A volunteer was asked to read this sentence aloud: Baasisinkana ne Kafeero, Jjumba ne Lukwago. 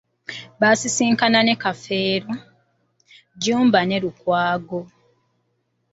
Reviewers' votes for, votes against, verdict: 2, 0, accepted